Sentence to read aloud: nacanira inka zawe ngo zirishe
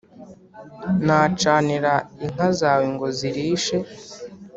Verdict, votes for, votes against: accepted, 3, 0